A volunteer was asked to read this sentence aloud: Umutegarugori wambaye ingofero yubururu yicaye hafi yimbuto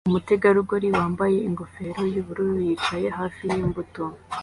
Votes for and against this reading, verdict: 2, 1, accepted